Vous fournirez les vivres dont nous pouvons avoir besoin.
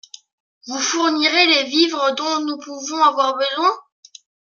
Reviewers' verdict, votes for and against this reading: accepted, 2, 0